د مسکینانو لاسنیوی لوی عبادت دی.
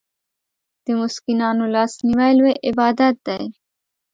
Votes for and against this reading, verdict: 2, 0, accepted